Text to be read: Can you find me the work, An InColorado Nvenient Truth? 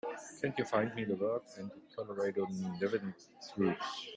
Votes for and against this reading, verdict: 1, 3, rejected